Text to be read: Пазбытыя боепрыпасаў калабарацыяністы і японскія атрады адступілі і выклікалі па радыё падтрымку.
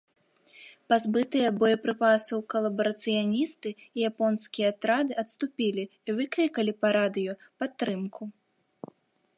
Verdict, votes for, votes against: accepted, 2, 0